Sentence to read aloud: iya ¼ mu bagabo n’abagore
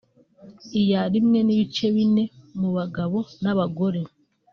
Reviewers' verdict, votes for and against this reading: accepted, 2, 0